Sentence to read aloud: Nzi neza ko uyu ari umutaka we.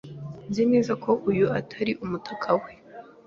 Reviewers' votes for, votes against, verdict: 2, 0, accepted